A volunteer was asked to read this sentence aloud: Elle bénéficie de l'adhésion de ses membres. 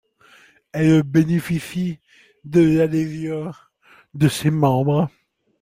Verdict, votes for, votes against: accepted, 2, 0